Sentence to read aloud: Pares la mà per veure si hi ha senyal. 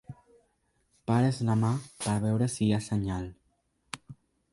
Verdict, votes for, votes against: accepted, 3, 0